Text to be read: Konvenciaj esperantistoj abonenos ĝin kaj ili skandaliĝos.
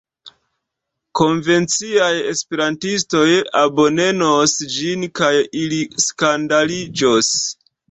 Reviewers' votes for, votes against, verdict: 2, 1, accepted